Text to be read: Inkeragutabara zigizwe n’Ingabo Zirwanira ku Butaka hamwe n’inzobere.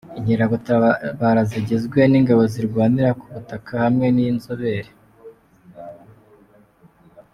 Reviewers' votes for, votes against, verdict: 2, 1, accepted